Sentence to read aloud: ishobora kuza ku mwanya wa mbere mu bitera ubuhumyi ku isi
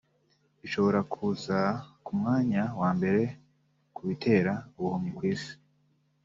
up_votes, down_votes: 0, 3